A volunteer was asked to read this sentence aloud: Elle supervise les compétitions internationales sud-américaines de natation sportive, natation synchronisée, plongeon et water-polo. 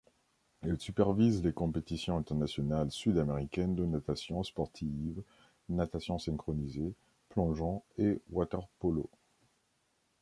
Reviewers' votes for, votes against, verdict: 2, 0, accepted